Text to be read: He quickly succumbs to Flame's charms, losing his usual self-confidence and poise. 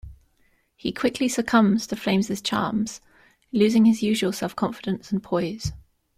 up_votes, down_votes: 2, 0